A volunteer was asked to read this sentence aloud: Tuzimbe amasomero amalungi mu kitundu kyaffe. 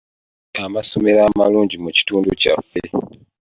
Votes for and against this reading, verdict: 0, 2, rejected